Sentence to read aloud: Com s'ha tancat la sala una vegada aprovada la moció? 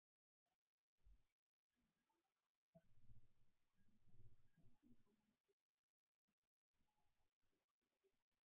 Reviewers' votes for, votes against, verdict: 0, 2, rejected